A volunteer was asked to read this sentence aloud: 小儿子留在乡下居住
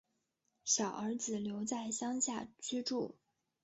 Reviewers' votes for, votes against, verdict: 0, 2, rejected